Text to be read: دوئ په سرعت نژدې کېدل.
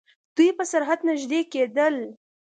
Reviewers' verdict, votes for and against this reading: accepted, 2, 0